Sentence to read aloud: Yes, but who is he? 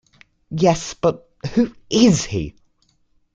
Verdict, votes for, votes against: accepted, 2, 0